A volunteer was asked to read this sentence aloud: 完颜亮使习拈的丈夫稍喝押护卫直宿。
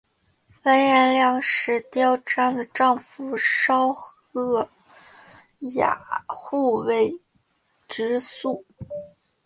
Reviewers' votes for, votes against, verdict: 2, 0, accepted